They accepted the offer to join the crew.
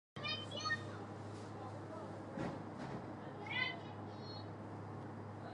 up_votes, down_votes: 0, 2